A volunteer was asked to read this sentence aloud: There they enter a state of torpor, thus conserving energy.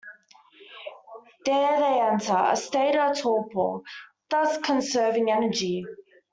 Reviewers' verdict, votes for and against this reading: accepted, 2, 1